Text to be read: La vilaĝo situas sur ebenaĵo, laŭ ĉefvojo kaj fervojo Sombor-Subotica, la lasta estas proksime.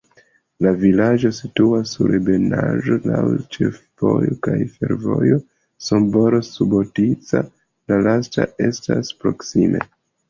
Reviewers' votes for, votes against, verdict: 0, 2, rejected